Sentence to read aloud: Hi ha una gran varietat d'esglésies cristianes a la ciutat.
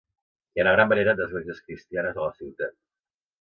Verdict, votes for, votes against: rejected, 1, 2